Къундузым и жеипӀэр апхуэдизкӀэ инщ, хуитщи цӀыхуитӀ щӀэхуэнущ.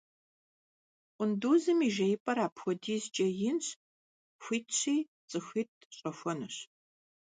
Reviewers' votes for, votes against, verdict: 2, 0, accepted